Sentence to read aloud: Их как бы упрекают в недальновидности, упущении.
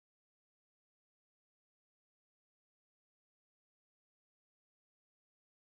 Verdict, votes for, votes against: rejected, 0, 2